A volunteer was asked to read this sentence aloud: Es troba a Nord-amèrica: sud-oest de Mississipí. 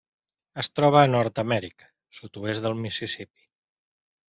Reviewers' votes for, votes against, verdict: 1, 2, rejected